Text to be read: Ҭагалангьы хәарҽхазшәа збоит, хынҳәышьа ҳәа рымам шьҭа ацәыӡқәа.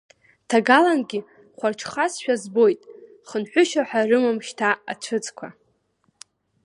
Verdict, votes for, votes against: accepted, 2, 1